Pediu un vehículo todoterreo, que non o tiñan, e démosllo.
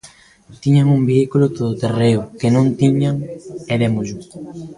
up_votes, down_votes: 0, 2